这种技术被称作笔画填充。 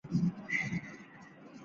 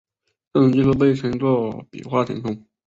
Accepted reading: second